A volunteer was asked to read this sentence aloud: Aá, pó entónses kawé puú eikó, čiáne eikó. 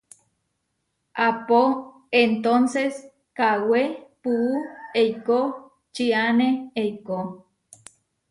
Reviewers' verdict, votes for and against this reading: accepted, 2, 0